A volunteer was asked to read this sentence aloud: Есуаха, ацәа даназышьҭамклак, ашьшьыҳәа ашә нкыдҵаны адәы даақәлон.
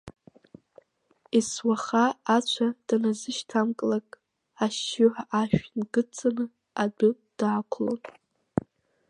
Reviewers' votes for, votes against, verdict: 2, 3, rejected